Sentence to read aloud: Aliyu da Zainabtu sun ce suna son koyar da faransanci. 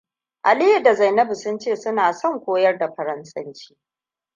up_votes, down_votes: 2, 0